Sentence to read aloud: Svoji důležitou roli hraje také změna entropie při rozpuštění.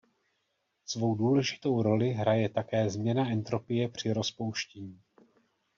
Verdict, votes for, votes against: rejected, 1, 2